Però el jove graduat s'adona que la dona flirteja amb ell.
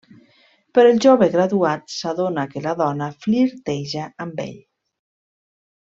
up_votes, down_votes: 2, 0